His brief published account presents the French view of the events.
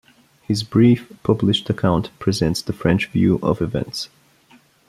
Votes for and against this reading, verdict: 0, 2, rejected